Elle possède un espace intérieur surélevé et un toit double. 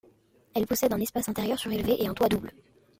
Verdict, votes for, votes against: accepted, 2, 0